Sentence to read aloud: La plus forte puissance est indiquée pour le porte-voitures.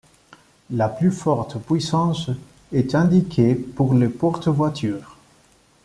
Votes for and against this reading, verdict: 1, 2, rejected